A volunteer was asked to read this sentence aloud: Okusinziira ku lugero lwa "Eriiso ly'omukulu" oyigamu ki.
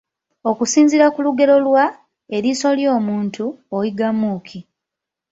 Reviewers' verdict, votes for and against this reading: rejected, 0, 2